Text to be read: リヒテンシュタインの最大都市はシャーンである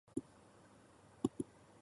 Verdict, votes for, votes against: rejected, 2, 3